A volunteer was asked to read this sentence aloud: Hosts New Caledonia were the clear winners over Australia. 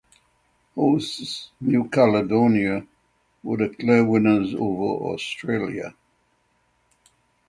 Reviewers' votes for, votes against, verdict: 6, 0, accepted